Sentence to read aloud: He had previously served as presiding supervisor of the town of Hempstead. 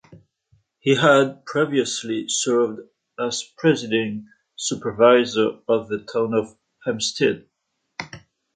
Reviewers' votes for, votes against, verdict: 2, 0, accepted